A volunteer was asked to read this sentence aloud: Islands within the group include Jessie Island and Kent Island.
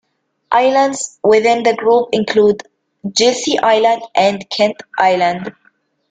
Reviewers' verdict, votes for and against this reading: accepted, 2, 1